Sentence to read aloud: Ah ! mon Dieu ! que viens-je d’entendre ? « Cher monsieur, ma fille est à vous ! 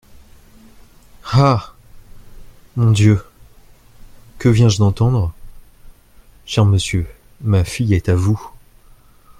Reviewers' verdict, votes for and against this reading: accepted, 2, 0